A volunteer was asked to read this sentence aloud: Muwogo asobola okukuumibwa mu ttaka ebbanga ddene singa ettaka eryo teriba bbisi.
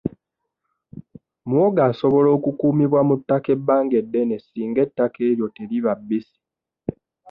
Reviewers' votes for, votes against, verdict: 0, 2, rejected